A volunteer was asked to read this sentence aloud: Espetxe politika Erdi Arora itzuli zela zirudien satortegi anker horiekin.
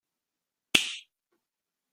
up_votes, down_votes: 1, 2